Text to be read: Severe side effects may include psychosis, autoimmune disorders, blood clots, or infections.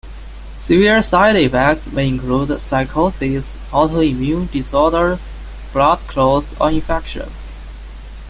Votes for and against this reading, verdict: 2, 0, accepted